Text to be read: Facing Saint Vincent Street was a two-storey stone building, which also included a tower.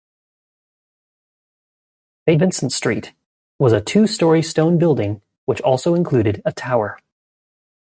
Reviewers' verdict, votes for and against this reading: rejected, 0, 3